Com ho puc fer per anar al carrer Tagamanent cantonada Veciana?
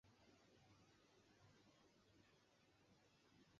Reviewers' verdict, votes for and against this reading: rejected, 0, 2